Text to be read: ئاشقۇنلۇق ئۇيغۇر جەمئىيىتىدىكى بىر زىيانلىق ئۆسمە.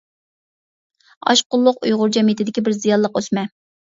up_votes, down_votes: 2, 0